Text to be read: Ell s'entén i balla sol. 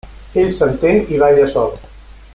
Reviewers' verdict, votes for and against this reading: accepted, 3, 0